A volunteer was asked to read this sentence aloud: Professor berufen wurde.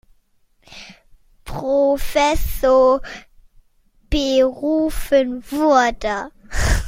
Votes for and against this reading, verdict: 0, 2, rejected